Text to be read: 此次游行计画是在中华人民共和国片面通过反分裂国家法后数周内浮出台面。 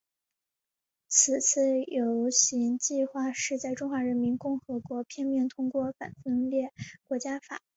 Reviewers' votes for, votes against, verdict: 0, 2, rejected